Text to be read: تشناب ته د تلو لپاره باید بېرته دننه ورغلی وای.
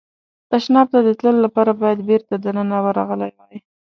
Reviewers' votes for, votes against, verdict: 2, 0, accepted